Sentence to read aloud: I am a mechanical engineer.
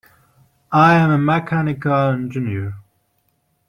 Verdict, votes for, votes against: rejected, 1, 2